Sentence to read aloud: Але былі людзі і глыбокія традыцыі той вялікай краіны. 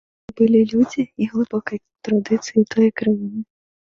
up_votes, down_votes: 0, 2